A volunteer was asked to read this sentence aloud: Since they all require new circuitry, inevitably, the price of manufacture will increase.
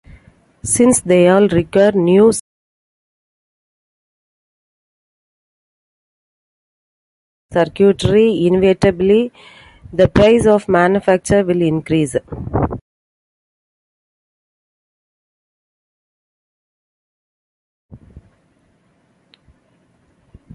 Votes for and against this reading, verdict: 0, 2, rejected